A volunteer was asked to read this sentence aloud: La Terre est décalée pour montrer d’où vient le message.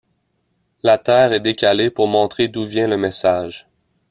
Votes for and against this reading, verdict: 2, 0, accepted